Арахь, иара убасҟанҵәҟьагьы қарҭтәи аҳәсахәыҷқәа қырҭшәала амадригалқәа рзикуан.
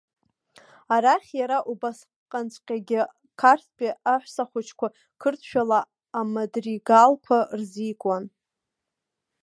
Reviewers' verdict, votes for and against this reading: rejected, 1, 2